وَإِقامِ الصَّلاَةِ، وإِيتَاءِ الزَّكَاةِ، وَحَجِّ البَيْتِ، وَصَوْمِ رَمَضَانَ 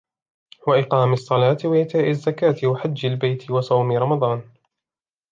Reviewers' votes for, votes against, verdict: 3, 0, accepted